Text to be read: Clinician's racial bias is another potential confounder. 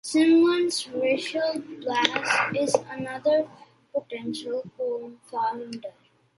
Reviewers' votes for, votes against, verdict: 1, 2, rejected